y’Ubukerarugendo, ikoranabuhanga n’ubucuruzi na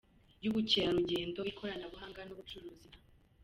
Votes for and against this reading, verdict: 2, 0, accepted